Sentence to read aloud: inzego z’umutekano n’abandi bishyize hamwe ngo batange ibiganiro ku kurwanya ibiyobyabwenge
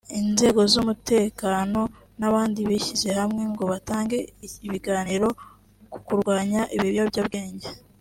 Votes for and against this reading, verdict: 0, 2, rejected